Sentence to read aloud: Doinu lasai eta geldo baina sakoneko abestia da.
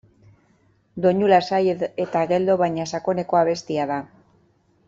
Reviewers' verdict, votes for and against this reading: rejected, 0, 2